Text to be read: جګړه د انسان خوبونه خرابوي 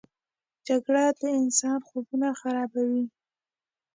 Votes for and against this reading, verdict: 2, 0, accepted